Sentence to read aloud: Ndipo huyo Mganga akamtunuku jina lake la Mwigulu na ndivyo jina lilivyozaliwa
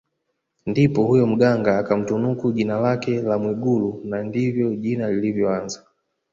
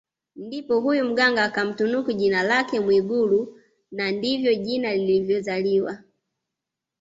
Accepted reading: second